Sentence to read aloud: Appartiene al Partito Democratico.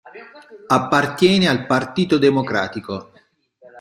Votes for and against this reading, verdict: 2, 0, accepted